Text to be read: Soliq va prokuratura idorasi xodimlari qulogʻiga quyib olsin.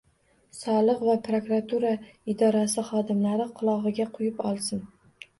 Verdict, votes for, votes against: accepted, 2, 0